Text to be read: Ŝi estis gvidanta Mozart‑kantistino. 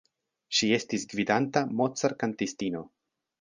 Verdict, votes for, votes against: accepted, 2, 0